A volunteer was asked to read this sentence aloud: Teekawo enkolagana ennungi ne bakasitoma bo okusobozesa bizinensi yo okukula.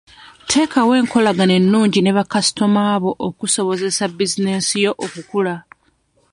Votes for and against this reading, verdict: 0, 2, rejected